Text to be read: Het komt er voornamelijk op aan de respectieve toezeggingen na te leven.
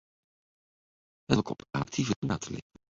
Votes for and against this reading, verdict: 0, 2, rejected